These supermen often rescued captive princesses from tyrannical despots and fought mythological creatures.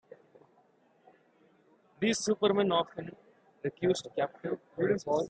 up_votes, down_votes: 0, 2